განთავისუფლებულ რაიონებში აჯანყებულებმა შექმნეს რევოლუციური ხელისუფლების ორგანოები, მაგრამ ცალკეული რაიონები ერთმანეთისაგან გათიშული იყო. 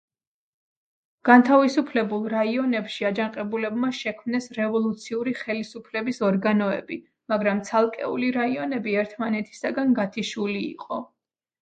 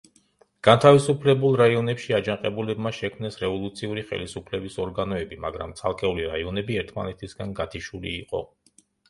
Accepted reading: first